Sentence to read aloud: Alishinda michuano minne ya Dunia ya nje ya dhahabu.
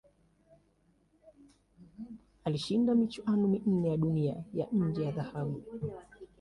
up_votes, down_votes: 2, 0